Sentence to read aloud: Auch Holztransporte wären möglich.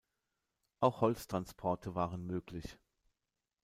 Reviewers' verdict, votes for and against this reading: rejected, 0, 2